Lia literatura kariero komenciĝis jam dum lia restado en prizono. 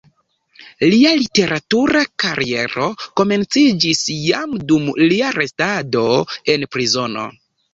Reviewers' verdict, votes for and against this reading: accepted, 2, 0